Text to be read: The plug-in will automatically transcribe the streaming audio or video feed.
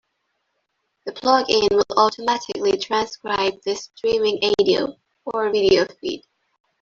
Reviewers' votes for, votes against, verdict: 1, 2, rejected